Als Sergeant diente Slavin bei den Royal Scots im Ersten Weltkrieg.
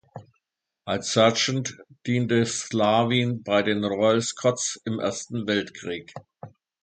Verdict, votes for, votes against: accepted, 2, 0